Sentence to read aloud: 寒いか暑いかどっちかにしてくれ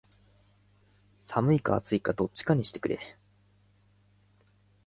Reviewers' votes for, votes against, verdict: 2, 3, rejected